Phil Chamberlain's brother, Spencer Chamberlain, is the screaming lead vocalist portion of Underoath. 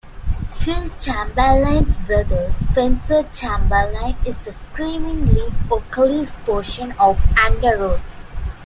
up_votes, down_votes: 2, 0